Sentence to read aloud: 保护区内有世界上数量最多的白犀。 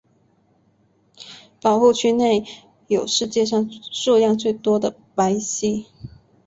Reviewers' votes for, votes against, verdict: 6, 0, accepted